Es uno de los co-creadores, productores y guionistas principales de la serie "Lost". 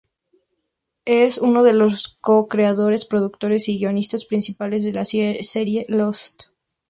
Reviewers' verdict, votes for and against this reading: rejected, 0, 4